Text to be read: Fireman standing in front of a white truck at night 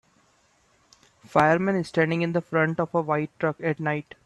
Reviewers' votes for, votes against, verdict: 3, 1, accepted